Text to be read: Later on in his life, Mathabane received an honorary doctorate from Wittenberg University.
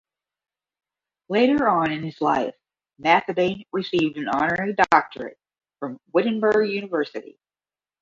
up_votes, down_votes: 0, 5